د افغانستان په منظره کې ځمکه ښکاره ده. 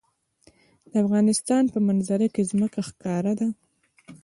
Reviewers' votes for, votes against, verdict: 2, 0, accepted